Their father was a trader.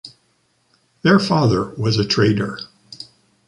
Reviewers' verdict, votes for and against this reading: accepted, 2, 0